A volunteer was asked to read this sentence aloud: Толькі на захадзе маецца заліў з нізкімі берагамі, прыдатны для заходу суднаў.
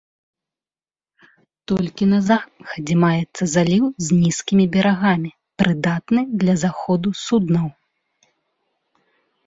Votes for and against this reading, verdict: 1, 2, rejected